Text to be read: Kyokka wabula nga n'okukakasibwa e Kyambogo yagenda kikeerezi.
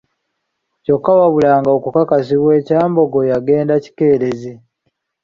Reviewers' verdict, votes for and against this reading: accepted, 2, 1